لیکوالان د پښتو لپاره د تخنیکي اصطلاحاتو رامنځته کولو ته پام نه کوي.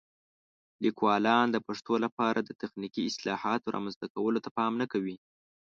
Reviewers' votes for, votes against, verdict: 0, 2, rejected